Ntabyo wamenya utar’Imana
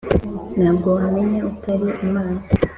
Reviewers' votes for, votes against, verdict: 3, 0, accepted